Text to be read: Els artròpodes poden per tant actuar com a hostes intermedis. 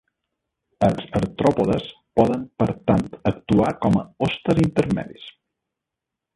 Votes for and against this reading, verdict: 1, 2, rejected